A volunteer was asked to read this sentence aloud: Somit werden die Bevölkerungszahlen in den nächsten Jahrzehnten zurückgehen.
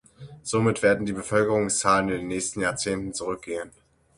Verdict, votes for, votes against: accepted, 6, 0